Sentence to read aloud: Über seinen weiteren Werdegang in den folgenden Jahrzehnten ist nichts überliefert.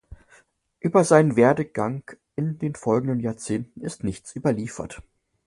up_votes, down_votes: 0, 2